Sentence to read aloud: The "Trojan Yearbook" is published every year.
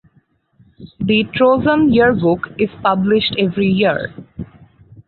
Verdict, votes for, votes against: rejected, 0, 4